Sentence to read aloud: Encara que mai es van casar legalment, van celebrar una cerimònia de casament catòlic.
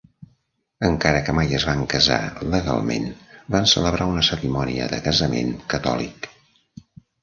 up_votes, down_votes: 3, 0